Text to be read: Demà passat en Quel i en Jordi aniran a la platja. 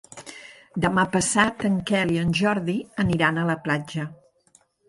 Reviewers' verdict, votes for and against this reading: accepted, 5, 0